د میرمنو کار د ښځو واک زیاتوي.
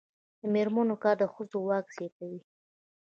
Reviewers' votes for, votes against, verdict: 2, 0, accepted